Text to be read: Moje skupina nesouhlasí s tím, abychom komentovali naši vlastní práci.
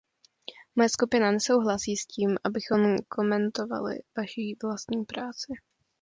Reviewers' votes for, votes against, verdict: 1, 2, rejected